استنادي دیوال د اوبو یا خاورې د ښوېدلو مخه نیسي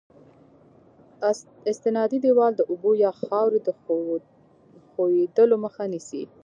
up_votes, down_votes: 1, 2